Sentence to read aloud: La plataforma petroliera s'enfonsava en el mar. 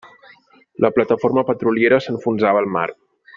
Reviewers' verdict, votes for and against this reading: rejected, 0, 2